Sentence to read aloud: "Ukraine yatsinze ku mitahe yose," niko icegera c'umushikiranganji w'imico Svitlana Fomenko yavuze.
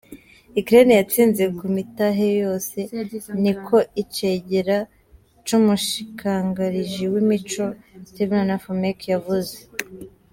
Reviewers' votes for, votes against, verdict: 0, 2, rejected